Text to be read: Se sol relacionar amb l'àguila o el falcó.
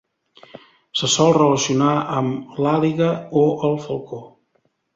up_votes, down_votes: 1, 2